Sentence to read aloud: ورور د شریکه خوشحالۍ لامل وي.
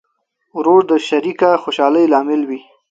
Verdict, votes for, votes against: accepted, 2, 0